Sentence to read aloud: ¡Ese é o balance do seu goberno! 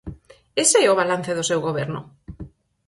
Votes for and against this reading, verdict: 6, 0, accepted